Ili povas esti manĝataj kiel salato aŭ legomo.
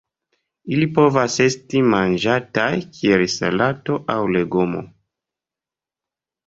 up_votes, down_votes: 2, 0